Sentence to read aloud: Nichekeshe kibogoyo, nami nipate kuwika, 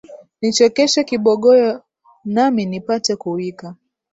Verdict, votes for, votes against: accepted, 2, 0